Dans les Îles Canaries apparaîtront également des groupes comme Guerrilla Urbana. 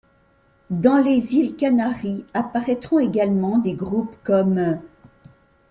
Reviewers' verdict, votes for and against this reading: rejected, 1, 2